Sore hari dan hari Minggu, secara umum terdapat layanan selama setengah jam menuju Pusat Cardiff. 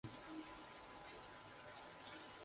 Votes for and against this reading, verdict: 0, 2, rejected